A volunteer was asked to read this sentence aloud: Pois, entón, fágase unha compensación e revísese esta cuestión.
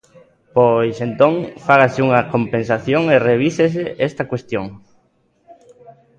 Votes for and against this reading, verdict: 2, 0, accepted